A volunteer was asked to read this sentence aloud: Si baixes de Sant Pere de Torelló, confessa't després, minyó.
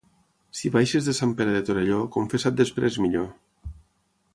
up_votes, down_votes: 6, 0